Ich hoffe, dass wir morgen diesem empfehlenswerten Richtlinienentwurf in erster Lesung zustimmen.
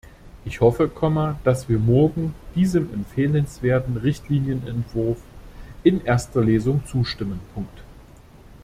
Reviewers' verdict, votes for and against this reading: rejected, 0, 2